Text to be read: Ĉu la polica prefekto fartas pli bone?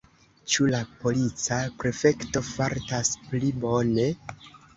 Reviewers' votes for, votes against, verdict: 3, 1, accepted